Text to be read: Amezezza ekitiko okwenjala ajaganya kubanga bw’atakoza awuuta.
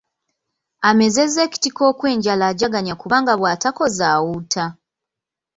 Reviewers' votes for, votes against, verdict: 0, 2, rejected